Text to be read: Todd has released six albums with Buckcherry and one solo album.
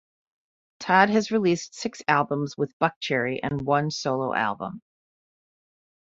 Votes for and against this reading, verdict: 2, 0, accepted